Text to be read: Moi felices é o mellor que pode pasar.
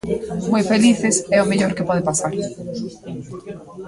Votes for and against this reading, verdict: 1, 2, rejected